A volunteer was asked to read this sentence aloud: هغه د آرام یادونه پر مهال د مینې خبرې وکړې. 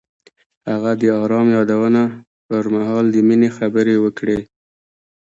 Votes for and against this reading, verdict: 1, 2, rejected